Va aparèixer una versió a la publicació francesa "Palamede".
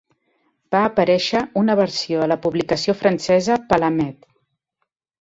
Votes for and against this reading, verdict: 5, 0, accepted